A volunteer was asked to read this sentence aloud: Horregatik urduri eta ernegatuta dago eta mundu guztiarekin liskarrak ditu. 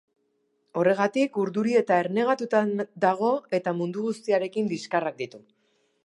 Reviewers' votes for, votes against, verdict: 1, 2, rejected